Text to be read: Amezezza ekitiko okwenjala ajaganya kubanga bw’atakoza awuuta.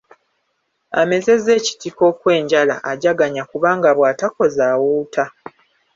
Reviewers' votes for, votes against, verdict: 2, 0, accepted